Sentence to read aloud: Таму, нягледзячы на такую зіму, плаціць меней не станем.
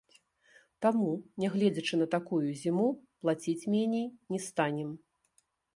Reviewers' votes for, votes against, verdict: 0, 2, rejected